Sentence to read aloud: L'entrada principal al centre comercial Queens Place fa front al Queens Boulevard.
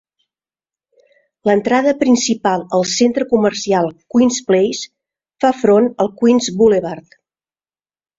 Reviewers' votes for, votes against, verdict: 3, 0, accepted